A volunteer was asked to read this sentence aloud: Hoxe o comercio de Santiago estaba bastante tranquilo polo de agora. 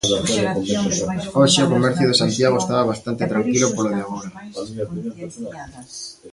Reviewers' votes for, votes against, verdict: 1, 2, rejected